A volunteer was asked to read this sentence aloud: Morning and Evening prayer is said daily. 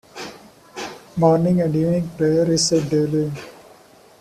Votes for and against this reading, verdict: 2, 0, accepted